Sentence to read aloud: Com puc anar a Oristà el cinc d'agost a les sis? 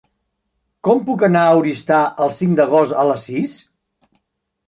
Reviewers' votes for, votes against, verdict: 4, 0, accepted